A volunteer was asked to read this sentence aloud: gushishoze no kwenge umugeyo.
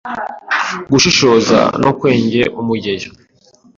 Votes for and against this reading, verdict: 0, 2, rejected